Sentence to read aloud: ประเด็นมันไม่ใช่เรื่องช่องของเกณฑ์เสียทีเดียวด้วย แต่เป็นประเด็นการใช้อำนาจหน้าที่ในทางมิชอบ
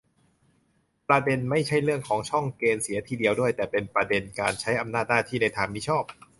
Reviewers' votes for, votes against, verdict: 0, 2, rejected